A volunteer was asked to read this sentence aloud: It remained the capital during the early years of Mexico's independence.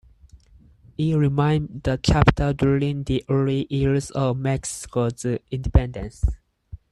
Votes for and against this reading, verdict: 0, 4, rejected